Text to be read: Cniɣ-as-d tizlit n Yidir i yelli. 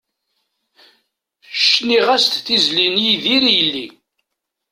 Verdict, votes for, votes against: accepted, 2, 0